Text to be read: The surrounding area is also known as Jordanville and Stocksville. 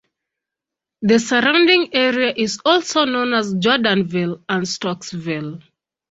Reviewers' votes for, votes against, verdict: 2, 0, accepted